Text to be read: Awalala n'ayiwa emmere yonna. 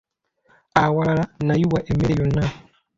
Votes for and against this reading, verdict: 2, 1, accepted